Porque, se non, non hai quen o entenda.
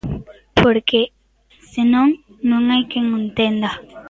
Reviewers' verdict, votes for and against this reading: rejected, 1, 2